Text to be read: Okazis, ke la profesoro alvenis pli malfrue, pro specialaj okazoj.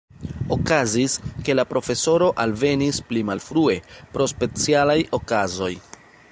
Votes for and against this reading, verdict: 2, 1, accepted